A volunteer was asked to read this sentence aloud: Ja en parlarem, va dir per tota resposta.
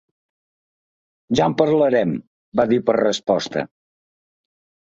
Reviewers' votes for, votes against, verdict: 0, 2, rejected